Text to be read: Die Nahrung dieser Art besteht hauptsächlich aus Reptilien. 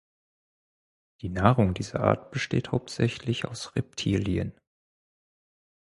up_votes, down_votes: 4, 0